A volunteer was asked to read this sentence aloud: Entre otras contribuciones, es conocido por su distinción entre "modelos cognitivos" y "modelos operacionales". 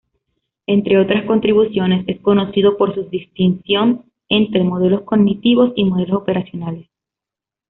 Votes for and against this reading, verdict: 2, 0, accepted